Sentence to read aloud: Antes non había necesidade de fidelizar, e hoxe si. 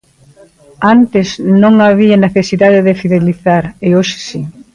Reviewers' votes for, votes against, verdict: 2, 0, accepted